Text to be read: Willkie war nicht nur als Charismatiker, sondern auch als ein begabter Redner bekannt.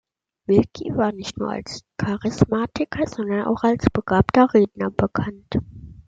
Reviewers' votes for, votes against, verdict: 2, 1, accepted